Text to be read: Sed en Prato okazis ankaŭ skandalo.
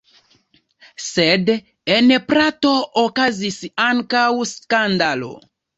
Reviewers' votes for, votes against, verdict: 2, 0, accepted